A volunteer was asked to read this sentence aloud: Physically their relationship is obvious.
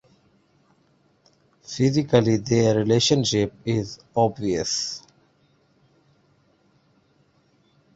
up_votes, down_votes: 2, 1